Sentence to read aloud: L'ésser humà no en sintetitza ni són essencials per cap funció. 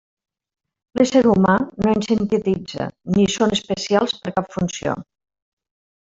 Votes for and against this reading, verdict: 0, 2, rejected